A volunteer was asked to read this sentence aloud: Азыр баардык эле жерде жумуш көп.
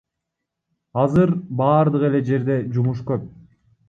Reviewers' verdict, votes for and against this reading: accepted, 2, 1